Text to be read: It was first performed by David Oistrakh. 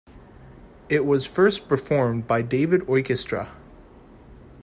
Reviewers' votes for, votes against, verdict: 0, 2, rejected